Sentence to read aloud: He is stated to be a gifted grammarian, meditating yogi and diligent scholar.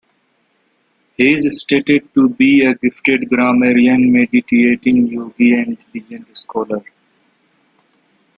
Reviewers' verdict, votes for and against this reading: rejected, 1, 2